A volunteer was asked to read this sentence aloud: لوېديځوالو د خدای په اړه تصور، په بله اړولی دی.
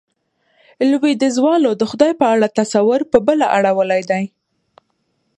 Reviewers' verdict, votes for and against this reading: accepted, 2, 0